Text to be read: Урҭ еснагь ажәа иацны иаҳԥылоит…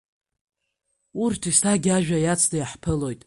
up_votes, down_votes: 2, 0